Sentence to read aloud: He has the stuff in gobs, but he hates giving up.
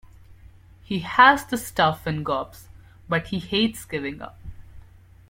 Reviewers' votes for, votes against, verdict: 2, 0, accepted